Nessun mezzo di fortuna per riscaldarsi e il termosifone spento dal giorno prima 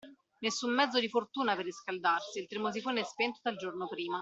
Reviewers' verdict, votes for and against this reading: accepted, 2, 1